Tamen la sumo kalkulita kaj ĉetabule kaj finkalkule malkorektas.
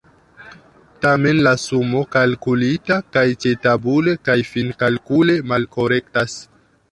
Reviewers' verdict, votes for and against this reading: rejected, 1, 2